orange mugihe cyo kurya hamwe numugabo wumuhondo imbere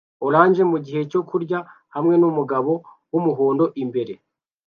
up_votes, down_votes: 2, 0